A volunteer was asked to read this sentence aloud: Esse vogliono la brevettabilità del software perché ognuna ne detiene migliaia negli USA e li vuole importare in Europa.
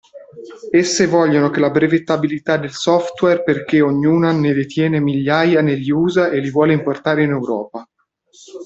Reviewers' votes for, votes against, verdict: 0, 2, rejected